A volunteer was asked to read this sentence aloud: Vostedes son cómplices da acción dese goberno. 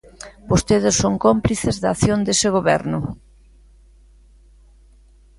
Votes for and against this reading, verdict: 2, 0, accepted